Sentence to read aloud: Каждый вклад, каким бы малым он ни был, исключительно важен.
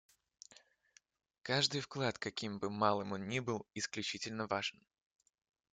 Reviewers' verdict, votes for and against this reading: accepted, 2, 0